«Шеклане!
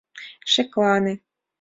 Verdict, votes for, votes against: accepted, 2, 0